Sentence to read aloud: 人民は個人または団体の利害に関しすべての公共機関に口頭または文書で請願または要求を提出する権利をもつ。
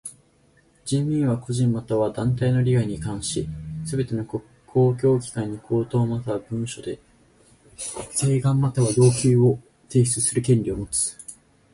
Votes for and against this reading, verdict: 2, 4, rejected